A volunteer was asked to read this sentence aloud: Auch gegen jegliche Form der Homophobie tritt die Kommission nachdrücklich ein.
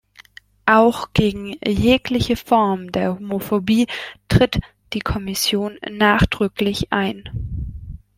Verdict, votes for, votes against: accepted, 3, 0